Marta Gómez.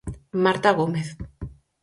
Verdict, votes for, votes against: accepted, 4, 0